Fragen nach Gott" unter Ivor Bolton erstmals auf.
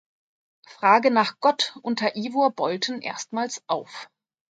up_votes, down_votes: 0, 2